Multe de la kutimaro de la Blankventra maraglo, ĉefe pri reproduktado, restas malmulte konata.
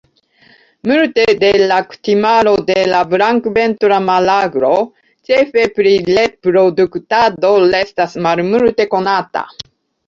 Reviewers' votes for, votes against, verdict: 2, 1, accepted